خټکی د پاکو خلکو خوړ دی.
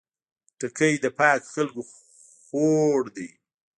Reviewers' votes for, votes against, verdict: 0, 2, rejected